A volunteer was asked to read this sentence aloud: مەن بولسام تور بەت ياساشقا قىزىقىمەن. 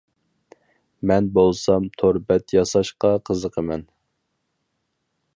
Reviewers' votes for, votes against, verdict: 4, 0, accepted